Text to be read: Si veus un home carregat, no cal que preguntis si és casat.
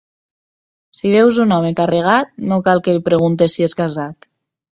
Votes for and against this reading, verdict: 0, 2, rejected